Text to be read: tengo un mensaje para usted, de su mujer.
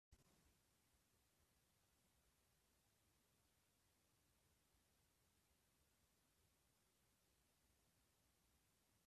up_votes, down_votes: 0, 2